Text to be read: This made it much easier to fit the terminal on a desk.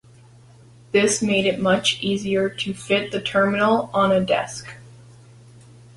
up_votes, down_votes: 3, 0